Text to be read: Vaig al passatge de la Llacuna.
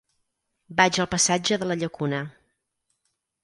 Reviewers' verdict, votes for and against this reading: accepted, 4, 0